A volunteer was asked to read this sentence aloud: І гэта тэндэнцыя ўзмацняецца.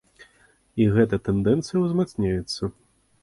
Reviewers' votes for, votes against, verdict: 2, 0, accepted